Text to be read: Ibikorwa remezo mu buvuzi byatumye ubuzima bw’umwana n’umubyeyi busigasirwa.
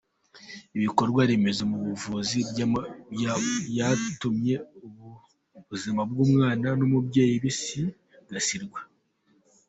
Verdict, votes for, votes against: rejected, 1, 2